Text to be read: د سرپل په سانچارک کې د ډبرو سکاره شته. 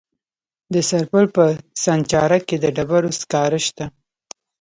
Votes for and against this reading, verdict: 2, 0, accepted